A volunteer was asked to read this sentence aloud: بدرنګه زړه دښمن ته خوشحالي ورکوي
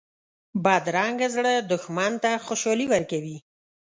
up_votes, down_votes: 2, 0